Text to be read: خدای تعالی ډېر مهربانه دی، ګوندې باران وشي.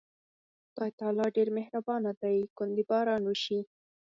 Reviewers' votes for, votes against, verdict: 4, 0, accepted